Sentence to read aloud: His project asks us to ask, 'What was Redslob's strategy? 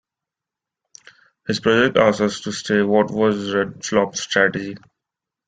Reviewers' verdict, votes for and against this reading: rejected, 0, 2